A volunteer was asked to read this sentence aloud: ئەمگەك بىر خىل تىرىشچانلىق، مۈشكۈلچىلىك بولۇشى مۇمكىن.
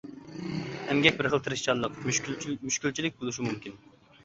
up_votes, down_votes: 0, 2